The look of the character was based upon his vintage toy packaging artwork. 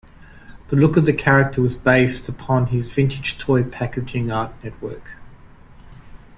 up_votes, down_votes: 0, 2